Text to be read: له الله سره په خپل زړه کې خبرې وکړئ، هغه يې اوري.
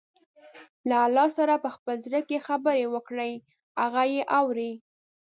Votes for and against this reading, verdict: 2, 0, accepted